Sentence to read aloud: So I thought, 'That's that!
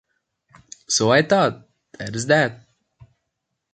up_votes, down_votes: 2, 1